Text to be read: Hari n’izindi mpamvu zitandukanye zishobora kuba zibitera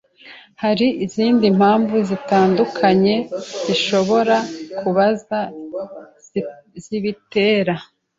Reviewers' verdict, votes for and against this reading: rejected, 1, 2